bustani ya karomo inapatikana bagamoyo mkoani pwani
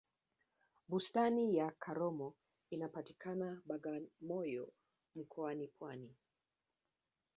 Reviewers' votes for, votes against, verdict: 1, 2, rejected